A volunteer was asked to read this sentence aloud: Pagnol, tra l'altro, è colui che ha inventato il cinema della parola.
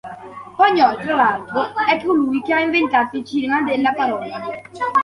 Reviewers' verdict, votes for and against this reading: accepted, 2, 1